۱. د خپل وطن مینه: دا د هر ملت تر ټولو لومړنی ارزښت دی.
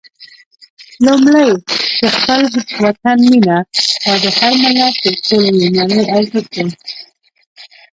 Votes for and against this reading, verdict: 0, 2, rejected